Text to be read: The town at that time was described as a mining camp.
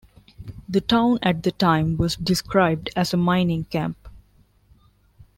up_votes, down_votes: 2, 1